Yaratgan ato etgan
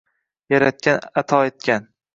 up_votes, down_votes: 2, 0